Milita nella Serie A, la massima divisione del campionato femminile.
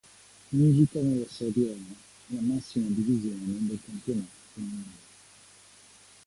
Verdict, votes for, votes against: rejected, 1, 2